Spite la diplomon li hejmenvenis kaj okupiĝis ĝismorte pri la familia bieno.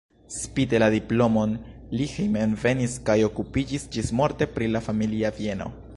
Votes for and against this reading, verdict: 0, 2, rejected